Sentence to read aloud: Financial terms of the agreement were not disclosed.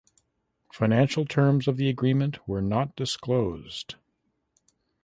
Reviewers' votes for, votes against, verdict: 2, 0, accepted